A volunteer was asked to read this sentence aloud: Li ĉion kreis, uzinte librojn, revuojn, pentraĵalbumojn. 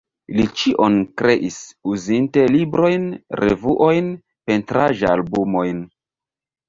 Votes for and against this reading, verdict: 1, 2, rejected